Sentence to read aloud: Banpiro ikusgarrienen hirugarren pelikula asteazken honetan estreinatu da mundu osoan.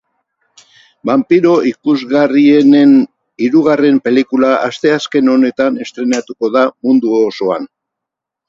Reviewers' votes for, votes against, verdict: 2, 2, rejected